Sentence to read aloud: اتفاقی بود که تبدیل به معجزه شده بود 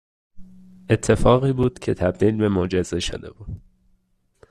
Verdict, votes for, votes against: accepted, 2, 0